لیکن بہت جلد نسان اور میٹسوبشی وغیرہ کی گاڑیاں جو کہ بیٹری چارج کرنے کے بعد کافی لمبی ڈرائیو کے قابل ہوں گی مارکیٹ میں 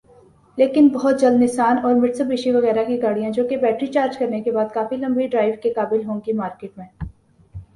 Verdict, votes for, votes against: rejected, 0, 3